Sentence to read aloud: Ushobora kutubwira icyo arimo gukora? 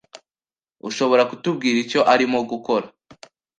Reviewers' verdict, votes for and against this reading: accepted, 2, 0